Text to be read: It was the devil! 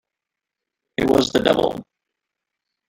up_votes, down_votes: 1, 2